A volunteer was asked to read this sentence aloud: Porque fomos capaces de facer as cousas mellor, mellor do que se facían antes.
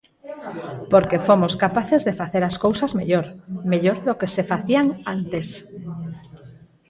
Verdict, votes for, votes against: rejected, 2, 4